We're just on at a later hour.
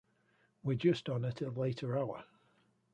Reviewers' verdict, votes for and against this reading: rejected, 0, 2